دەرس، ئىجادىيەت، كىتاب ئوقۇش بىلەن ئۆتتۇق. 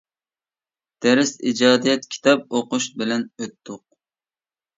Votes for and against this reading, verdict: 2, 0, accepted